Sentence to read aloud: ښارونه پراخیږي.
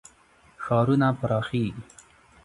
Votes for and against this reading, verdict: 2, 0, accepted